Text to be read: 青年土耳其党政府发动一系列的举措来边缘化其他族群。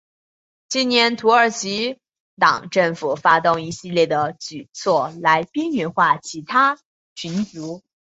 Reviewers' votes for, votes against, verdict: 0, 2, rejected